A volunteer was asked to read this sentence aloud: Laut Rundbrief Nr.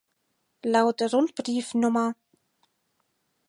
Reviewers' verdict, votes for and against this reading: rejected, 2, 4